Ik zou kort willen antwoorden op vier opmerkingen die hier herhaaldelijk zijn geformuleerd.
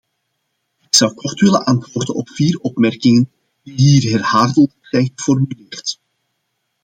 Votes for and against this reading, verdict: 1, 2, rejected